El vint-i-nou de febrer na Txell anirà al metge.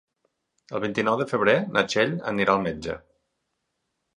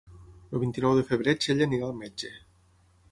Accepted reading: first